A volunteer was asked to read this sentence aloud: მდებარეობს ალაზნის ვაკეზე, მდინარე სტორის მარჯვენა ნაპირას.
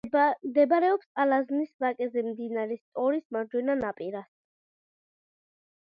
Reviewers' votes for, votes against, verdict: 2, 0, accepted